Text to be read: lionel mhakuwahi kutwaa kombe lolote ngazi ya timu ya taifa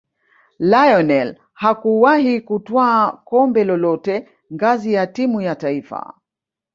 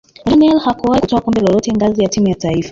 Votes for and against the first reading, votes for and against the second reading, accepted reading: 2, 1, 1, 2, first